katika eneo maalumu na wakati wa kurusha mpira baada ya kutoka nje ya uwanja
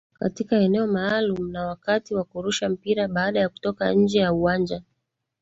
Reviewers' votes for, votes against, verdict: 3, 0, accepted